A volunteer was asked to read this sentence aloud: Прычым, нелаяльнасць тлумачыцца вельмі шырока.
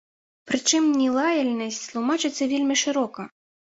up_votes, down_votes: 0, 2